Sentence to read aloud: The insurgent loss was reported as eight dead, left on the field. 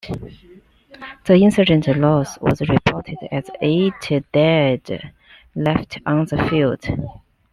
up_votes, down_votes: 2, 0